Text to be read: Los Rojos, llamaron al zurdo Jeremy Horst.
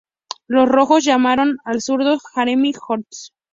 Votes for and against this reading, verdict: 2, 0, accepted